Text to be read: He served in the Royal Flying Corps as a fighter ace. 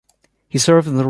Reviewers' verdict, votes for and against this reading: rejected, 0, 2